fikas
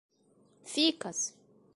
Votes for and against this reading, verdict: 1, 2, rejected